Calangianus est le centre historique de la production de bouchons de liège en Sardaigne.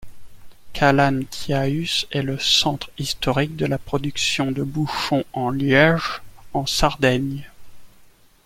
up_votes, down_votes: 0, 2